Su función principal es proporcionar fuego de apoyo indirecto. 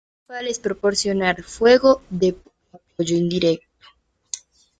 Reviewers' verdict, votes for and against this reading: rejected, 1, 2